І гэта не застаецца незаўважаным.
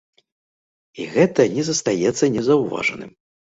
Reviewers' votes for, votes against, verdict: 2, 0, accepted